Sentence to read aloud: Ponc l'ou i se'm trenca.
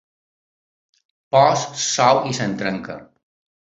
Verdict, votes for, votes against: rejected, 2, 3